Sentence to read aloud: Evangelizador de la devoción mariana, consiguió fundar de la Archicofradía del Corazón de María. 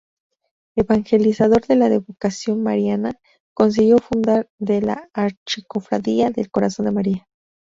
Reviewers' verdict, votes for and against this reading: rejected, 0, 2